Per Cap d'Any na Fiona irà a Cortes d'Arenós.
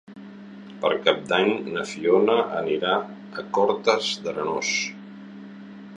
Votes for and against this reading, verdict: 0, 2, rejected